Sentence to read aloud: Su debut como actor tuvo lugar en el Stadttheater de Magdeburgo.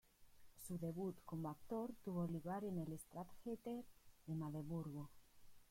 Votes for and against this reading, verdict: 0, 2, rejected